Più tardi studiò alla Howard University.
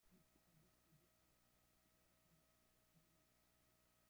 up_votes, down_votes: 0, 3